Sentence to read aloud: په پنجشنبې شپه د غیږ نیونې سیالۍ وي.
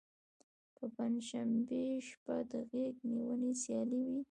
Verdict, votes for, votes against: rejected, 0, 2